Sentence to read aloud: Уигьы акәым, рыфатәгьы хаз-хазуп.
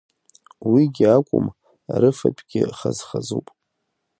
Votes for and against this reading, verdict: 2, 0, accepted